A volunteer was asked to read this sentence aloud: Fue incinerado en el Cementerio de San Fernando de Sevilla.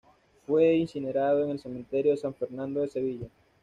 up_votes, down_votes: 2, 0